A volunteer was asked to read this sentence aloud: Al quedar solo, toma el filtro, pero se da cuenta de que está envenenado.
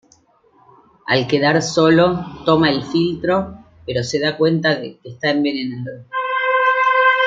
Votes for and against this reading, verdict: 2, 0, accepted